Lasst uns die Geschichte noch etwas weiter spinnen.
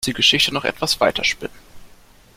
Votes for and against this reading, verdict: 0, 2, rejected